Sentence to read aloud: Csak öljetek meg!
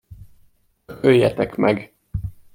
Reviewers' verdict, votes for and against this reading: rejected, 0, 2